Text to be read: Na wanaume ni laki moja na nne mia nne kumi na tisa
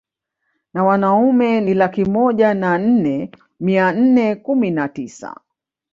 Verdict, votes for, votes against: accepted, 2, 0